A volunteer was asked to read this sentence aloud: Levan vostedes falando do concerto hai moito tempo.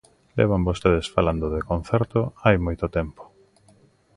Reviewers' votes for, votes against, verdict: 1, 2, rejected